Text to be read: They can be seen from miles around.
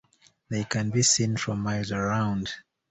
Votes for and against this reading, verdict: 2, 1, accepted